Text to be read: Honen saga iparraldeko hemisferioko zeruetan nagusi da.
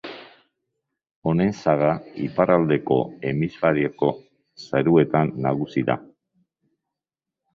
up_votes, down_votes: 0, 2